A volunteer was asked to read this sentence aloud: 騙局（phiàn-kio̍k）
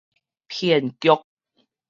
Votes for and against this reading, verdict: 4, 0, accepted